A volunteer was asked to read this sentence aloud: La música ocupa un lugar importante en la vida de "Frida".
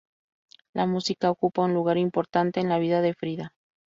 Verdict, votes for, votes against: accepted, 2, 0